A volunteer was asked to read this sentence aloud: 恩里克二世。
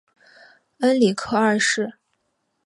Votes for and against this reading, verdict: 2, 0, accepted